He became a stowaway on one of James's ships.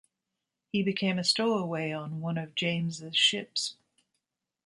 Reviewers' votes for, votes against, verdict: 2, 0, accepted